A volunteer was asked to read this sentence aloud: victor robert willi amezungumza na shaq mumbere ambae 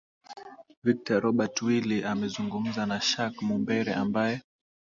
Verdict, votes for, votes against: accepted, 17, 0